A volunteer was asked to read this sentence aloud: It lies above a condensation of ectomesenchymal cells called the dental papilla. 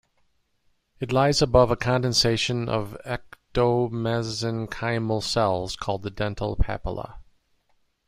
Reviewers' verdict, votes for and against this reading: rejected, 0, 2